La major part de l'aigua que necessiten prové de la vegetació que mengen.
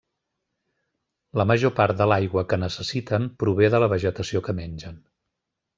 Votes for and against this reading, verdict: 3, 0, accepted